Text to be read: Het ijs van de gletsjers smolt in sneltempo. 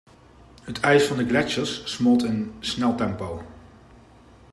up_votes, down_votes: 2, 0